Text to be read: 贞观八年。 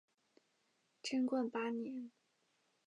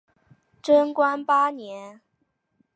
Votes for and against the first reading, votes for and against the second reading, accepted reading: 1, 2, 2, 0, second